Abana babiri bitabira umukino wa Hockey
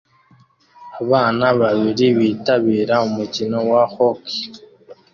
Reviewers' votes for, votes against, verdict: 2, 0, accepted